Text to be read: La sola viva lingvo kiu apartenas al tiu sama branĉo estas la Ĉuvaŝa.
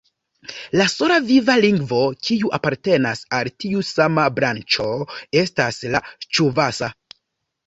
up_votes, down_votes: 0, 2